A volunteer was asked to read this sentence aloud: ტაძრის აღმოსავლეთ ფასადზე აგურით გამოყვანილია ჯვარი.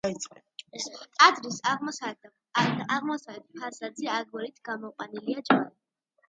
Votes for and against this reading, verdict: 2, 1, accepted